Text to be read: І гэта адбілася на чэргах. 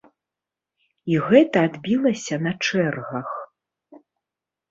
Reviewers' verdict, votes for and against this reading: accepted, 2, 0